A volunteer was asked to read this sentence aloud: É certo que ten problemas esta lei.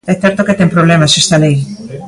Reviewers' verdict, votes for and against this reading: accepted, 2, 1